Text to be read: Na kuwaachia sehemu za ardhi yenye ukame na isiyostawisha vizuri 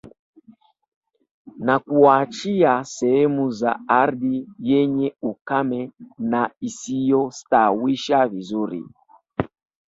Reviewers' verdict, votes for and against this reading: accepted, 2, 1